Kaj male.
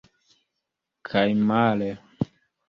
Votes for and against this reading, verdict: 2, 0, accepted